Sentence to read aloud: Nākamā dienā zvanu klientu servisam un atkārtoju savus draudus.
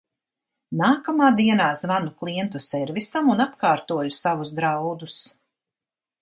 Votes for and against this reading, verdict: 1, 2, rejected